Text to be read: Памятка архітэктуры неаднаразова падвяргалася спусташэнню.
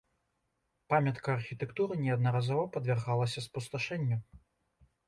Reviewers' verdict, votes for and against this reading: accepted, 2, 0